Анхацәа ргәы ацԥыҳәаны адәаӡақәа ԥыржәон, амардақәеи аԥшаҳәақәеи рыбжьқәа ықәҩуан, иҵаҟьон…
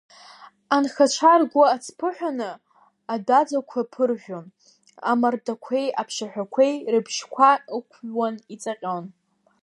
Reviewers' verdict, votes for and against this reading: accepted, 2, 1